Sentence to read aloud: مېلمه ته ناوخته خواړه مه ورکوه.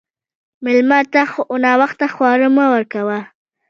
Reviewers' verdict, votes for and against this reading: accepted, 2, 0